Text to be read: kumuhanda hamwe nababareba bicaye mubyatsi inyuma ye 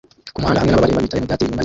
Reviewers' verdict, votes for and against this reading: rejected, 0, 2